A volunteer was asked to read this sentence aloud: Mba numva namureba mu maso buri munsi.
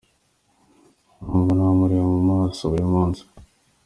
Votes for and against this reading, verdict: 2, 1, accepted